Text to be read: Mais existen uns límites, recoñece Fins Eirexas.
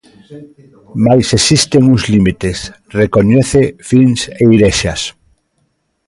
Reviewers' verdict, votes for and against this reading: rejected, 0, 2